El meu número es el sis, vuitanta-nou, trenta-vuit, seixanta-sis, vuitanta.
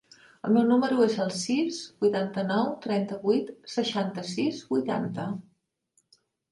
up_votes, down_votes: 7, 0